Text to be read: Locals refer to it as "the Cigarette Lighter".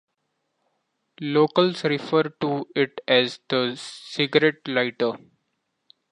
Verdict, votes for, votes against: rejected, 0, 2